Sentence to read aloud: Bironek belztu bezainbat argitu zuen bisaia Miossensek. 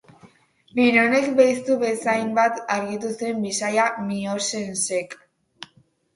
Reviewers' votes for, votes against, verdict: 6, 0, accepted